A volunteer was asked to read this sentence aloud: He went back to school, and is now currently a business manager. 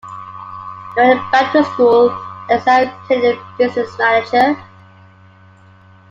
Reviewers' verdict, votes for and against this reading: rejected, 0, 2